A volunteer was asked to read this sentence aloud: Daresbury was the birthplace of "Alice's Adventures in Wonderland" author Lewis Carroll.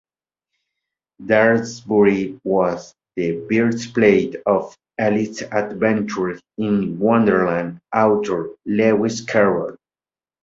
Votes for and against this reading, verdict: 1, 2, rejected